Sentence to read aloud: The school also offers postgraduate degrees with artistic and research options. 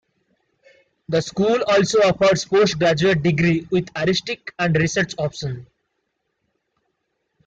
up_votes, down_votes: 0, 2